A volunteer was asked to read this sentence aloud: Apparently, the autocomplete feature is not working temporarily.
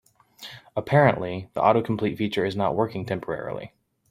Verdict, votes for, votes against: accepted, 2, 0